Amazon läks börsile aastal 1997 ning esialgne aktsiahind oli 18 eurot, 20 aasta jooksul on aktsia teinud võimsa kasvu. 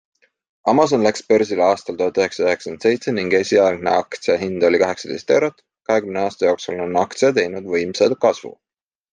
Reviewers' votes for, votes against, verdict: 0, 2, rejected